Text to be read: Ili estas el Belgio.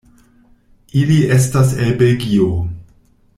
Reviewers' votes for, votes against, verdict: 2, 0, accepted